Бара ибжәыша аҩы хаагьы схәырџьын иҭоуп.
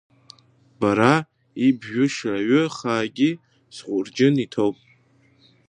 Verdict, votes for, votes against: rejected, 0, 2